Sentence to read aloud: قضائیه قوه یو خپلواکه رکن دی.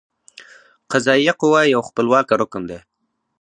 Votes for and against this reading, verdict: 4, 0, accepted